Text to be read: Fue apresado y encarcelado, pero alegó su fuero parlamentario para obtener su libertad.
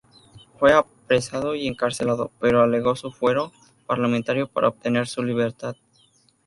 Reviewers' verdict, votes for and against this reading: accepted, 2, 0